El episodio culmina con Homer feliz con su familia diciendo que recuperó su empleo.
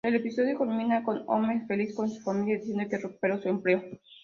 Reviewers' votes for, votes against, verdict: 0, 2, rejected